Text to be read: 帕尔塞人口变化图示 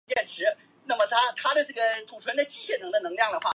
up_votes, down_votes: 0, 2